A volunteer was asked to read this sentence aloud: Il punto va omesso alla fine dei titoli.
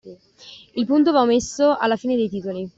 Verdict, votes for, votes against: rejected, 1, 2